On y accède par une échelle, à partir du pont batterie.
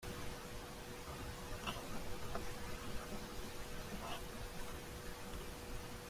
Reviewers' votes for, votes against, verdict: 0, 2, rejected